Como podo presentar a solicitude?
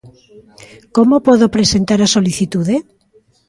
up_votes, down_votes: 2, 0